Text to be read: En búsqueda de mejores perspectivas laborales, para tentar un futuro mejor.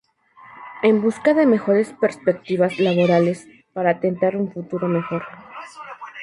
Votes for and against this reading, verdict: 2, 2, rejected